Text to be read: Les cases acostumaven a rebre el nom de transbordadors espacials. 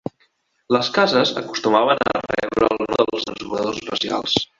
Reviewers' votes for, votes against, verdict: 0, 2, rejected